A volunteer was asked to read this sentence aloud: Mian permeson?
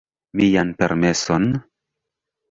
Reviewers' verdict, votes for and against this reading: accepted, 2, 1